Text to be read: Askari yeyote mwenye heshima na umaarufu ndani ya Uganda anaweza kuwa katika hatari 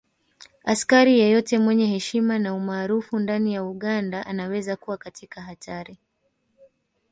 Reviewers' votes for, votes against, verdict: 2, 0, accepted